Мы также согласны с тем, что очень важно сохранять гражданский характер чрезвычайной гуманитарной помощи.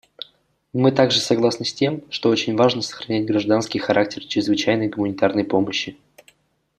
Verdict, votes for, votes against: accepted, 2, 0